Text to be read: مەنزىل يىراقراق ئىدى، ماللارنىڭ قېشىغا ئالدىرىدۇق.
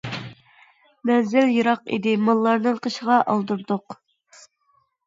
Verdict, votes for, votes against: rejected, 0, 2